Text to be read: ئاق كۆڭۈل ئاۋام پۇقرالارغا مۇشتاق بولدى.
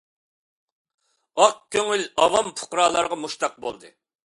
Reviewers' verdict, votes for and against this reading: accepted, 2, 0